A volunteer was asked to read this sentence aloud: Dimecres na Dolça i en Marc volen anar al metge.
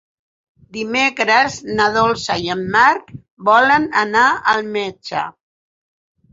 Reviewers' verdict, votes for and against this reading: accepted, 8, 0